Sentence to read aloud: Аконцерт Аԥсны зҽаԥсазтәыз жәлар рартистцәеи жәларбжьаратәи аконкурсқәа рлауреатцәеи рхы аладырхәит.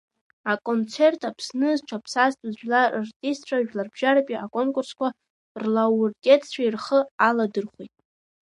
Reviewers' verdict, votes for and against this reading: rejected, 0, 2